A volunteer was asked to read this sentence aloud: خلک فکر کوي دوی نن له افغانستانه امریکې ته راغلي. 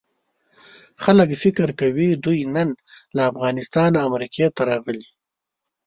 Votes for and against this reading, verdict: 2, 0, accepted